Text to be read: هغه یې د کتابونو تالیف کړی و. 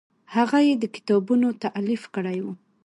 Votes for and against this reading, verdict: 2, 0, accepted